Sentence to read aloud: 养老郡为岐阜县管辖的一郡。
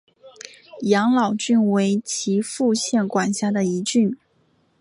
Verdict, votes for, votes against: accepted, 2, 1